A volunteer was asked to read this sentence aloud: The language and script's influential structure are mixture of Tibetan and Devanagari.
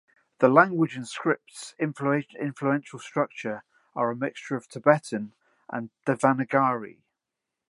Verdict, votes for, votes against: rejected, 0, 2